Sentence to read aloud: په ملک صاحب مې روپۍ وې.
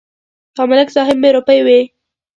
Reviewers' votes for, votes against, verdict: 2, 0, accepted